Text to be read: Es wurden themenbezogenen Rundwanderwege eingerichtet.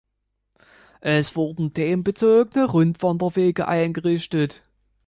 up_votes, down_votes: 2, 0